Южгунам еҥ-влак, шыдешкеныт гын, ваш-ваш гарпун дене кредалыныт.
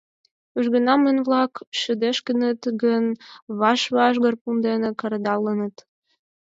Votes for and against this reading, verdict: 2, 4, rejected